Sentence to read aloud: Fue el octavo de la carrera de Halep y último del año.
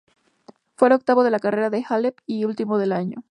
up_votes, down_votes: 2, 0